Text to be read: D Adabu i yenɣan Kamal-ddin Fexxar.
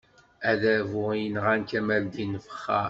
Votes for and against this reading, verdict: 0, 2, rejected